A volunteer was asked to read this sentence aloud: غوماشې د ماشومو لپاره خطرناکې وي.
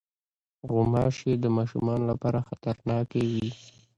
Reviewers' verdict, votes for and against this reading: accepted, 2, 1